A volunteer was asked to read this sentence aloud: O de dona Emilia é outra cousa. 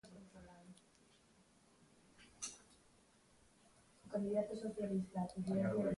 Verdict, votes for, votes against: rejected, 0, 2